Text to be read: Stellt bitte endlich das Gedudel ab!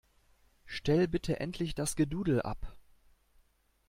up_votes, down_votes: 0, 2